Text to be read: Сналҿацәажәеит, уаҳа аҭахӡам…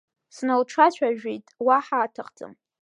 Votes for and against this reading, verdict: 1, 2, rejected